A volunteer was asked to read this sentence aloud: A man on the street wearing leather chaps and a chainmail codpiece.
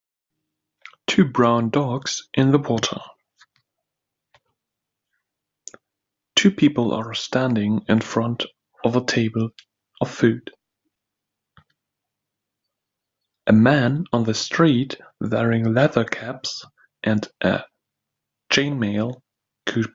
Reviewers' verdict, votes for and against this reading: rejected, 0, 2